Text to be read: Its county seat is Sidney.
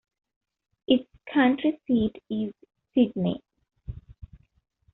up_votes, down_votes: 0, 2